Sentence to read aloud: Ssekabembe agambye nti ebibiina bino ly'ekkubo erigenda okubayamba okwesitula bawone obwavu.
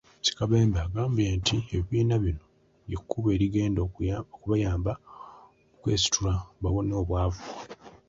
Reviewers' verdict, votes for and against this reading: accepted, 2, 0